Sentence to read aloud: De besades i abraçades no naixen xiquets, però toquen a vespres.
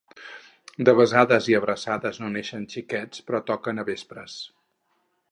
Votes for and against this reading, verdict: 0, 2, rejected